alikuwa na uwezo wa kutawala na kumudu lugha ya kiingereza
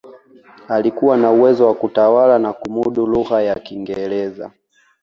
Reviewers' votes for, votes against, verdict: 2, 0, accepted